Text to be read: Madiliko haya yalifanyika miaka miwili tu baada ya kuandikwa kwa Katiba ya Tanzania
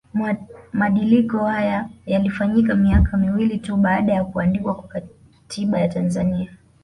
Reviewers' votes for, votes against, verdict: 2, 1, accepted